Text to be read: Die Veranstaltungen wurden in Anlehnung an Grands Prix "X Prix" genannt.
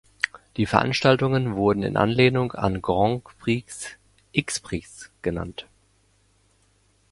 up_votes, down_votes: 0, 2